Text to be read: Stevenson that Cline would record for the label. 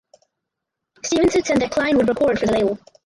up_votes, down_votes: 0, 4